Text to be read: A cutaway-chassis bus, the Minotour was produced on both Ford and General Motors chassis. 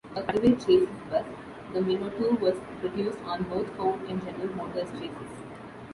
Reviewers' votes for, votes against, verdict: 0, 2, rejected